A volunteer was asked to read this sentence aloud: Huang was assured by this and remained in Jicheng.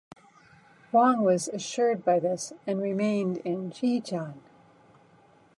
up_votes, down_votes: 2, 0